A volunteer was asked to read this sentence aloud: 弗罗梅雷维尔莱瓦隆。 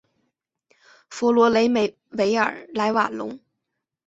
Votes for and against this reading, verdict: 3, 0, accepted